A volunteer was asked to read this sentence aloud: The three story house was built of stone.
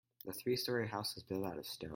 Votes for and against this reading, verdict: 0, 4, rejected